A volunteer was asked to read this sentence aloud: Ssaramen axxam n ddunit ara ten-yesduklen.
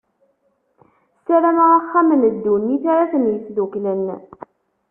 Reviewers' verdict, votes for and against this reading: rejected, 1, 2